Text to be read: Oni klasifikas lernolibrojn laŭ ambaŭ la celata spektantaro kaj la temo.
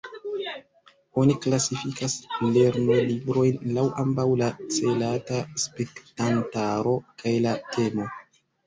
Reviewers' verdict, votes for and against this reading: rejected, 1, 2